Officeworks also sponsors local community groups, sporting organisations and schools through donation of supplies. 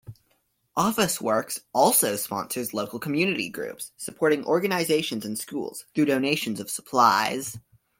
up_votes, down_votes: 0, 2